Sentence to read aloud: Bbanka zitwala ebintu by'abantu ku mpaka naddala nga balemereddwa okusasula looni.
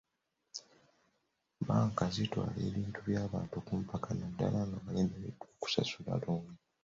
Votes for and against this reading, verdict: 0, 2, rejected